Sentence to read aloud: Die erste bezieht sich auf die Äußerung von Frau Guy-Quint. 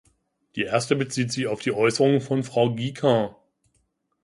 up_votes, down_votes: 0, 2